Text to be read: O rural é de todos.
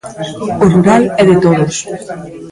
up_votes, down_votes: 0, 2